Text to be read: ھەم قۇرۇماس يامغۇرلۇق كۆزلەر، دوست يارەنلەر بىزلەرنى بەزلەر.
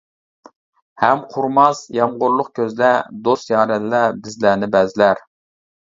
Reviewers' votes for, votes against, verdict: 2, 1, accepted